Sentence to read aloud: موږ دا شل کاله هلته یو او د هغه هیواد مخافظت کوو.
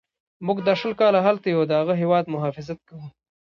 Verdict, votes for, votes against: accepted, 2, 0